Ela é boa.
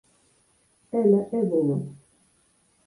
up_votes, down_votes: 2, 4